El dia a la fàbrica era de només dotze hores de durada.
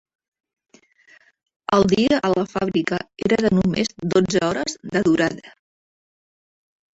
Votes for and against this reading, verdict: 0, 2, rejected